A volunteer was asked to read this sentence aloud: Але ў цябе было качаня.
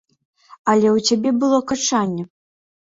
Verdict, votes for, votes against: rejected, 0, 2